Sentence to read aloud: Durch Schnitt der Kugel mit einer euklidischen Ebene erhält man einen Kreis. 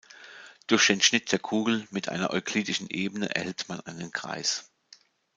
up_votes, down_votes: 0, 2